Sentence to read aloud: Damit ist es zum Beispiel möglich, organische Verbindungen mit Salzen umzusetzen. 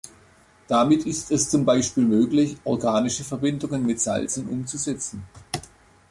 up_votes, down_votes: 3, 0